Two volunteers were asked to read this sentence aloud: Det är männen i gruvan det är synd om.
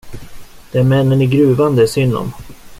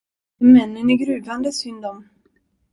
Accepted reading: first